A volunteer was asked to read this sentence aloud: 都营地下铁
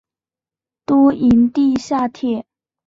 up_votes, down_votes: 2, 0